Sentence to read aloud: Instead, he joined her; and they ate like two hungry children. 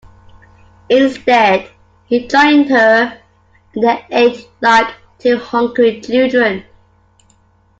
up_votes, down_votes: 2, 0